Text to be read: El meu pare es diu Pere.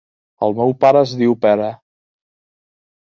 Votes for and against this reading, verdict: 3, 0, accepted